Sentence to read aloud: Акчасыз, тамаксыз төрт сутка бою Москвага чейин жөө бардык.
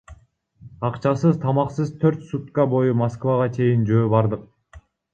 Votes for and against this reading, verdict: 1, 2, rejected